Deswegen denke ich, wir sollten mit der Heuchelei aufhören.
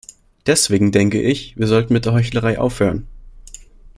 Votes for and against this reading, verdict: 1, 2, rejected